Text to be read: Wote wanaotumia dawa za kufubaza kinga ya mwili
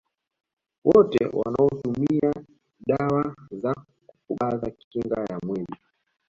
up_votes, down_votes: 1, 2